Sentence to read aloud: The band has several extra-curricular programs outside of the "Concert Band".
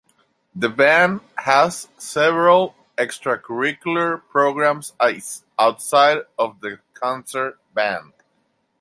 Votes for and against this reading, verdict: 2, 0, accepted